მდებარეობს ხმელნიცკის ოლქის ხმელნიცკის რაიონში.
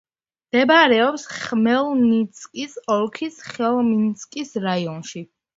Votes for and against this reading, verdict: 1, 2, rejected